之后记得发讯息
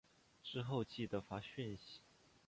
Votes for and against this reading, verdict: 0, 2, rejected